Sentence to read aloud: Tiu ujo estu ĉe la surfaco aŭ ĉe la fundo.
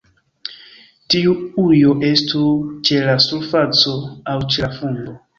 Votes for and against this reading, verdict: 1, 2, rejected